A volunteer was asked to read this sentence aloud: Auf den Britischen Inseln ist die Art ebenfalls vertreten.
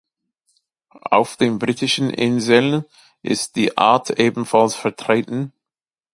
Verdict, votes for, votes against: accepted, 2, 1